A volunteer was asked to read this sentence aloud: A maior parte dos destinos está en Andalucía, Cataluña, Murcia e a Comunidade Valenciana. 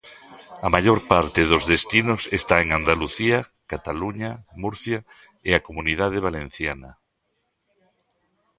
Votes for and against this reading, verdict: 2, 0, accepted